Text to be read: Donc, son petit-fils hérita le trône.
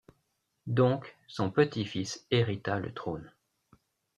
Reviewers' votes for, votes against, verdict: 2, 0, accepted